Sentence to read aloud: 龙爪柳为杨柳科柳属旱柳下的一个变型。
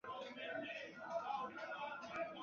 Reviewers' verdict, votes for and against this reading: rejected, 0, 2